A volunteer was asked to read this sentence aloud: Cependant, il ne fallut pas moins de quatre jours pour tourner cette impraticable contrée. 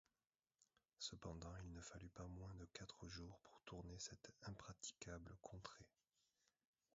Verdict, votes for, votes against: rejected, 0, 2